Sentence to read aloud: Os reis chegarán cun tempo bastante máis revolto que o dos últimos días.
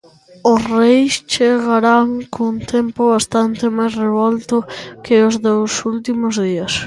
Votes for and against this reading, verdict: 0, 2, rejected